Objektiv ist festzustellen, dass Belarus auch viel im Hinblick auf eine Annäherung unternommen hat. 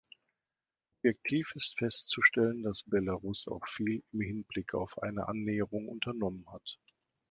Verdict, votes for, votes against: rejected, 1, 2